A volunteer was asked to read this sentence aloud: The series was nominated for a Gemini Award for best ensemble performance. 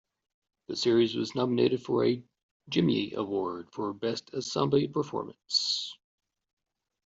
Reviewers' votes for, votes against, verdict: 1, 2, rejected